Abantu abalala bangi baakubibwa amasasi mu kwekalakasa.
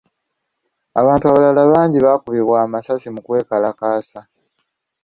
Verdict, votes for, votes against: accepted, 2, 0